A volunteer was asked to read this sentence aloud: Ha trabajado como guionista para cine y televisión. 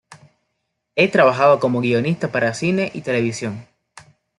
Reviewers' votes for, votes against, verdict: 0, 2, rejected